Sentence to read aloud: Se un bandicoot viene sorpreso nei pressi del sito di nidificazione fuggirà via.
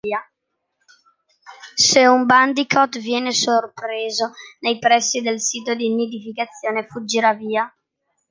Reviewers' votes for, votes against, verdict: 2, 1, accepted